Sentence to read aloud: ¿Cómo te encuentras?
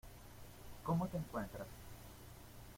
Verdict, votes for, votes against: accepted, 2, 0